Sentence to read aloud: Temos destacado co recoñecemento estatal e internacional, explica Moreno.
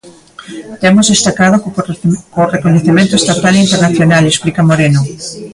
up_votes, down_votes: 0, 2